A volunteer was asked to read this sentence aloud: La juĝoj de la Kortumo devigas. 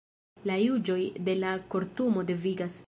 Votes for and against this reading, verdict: 1, 2, rejected